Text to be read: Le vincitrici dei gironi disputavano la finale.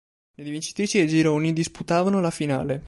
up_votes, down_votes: 0, 2